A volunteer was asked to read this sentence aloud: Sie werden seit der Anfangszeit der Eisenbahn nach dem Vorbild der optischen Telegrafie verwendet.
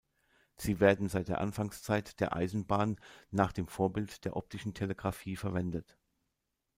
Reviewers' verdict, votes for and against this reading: accepted, 2, 0